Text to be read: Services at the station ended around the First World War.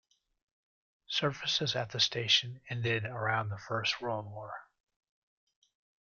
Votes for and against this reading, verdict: 2, 0, accepted